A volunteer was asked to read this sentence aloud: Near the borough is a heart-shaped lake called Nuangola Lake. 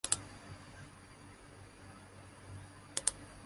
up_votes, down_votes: 0, 2